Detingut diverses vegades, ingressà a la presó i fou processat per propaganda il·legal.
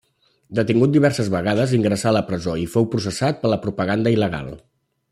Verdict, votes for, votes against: rejected, 1, 2